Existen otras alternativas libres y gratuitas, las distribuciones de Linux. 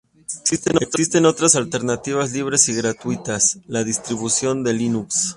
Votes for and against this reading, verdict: 0, 2, rejected